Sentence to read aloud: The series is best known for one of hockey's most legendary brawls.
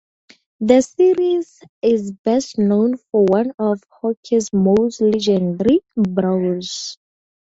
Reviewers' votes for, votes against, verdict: 0, 4, rejected